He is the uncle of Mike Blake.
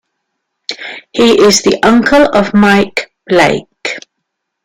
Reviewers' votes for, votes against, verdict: 2, 0, accepted